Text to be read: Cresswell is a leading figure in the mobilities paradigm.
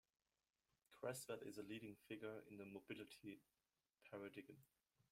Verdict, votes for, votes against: rejected, 0, 2